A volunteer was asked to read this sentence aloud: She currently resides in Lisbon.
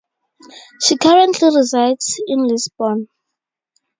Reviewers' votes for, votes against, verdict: 2, 0, accepted